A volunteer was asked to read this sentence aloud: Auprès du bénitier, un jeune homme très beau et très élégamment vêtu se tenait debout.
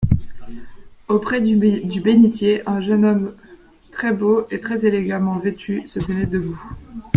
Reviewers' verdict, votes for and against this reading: rejected, 1, 2